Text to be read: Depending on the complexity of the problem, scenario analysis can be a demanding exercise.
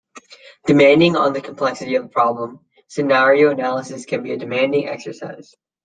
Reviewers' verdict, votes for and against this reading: accepted, 2, 1